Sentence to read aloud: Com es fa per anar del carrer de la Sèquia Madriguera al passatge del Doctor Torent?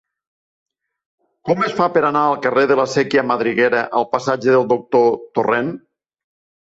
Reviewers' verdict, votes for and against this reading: rejected, 0, 3